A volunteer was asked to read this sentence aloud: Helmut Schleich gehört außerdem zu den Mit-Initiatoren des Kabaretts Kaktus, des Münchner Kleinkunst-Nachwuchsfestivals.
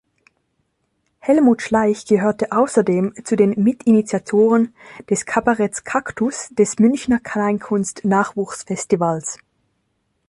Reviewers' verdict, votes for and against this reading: rejected, 0, 2